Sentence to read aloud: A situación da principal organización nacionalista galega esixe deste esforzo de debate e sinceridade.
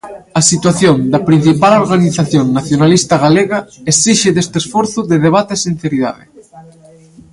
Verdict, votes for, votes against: rejected, 1, 2